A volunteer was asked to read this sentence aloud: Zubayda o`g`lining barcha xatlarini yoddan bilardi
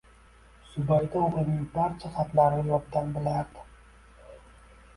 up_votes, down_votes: 1, 2